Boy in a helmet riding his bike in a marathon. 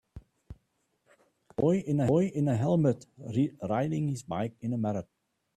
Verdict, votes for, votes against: rejected, 0, 2